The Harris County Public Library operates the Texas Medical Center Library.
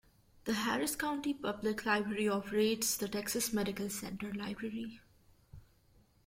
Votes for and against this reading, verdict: 2, 0, accepted